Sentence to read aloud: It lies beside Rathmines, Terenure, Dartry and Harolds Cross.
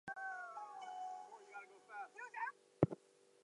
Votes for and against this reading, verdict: 0, 4, rejected